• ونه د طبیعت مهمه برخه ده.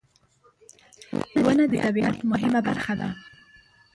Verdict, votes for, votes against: rejected, 1, 2